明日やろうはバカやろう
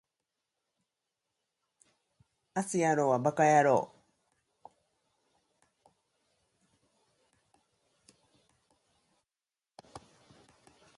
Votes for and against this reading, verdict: 0, 2, rejected